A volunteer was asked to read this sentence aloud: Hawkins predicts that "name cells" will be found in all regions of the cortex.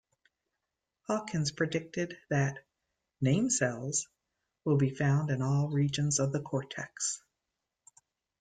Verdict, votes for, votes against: rejected, 0, 2